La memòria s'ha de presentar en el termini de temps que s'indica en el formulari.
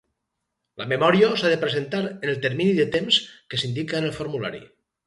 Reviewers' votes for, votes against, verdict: 4, 0, accepted